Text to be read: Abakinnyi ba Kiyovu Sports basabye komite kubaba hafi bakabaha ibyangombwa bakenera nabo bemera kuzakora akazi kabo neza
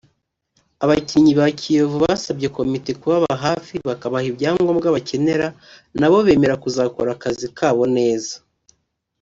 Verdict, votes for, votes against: rejected, 1, 2